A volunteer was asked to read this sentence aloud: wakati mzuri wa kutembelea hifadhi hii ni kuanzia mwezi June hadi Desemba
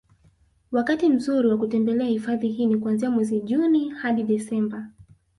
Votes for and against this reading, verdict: 1, 2, rejected